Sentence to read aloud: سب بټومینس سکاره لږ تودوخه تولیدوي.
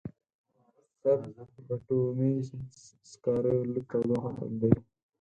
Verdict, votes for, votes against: accepted, 4, 0